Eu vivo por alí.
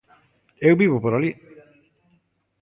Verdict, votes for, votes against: rejected, 1, 2